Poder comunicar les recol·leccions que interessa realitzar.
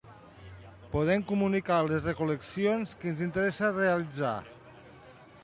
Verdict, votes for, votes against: rejected, 0, 2